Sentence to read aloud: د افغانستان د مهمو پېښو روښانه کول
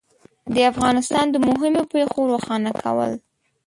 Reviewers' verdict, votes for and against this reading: rejected, 1, 2